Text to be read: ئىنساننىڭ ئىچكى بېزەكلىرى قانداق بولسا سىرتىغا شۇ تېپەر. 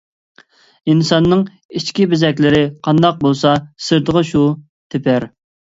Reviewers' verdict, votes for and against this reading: accepted, 3, 0